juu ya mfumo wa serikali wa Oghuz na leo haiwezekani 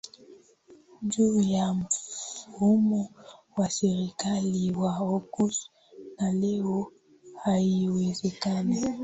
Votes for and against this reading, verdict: 2, 1, accepted